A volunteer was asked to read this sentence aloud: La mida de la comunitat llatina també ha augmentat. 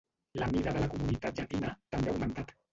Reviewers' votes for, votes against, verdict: 0, 2, rejected